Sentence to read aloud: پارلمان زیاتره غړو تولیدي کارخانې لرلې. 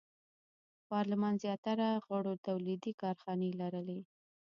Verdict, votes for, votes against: rejected, 0, 2